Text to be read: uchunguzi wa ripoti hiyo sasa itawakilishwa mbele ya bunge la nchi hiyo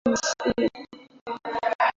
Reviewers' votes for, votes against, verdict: 0, 2, rejected